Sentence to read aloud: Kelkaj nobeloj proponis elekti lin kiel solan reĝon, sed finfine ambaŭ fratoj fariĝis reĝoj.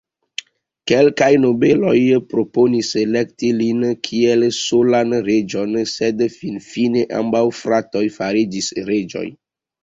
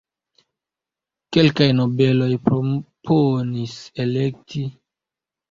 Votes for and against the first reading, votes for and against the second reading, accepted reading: 2, 1, 0, 2, first